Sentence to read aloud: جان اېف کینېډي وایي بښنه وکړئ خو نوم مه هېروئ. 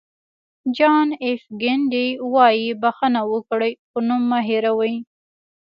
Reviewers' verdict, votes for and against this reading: rejected, 1, 2